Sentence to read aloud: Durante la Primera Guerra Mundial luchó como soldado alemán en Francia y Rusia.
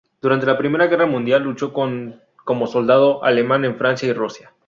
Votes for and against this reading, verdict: 2, 2, rejected